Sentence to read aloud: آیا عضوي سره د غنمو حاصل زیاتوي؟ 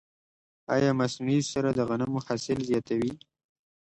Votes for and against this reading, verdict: 2, 0, accepted